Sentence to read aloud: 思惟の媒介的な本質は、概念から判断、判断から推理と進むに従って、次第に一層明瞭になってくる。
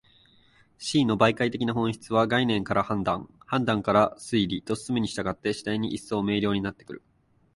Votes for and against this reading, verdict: 2, 4, rejected